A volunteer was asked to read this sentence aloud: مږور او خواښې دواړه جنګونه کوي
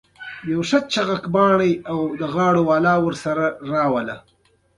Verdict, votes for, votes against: accepted, 2, 0